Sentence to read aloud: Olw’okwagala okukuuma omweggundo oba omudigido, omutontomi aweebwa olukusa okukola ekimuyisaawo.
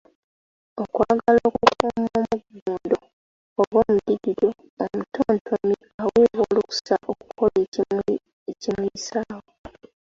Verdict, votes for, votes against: rejected, 1, 2